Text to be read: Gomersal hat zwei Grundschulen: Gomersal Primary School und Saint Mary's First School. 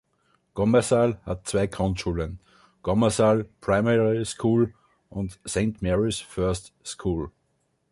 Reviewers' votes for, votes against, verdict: 2, 0, accepted